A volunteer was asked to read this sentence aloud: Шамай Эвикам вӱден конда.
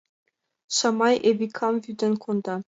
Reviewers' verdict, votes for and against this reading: accepted, 2, 1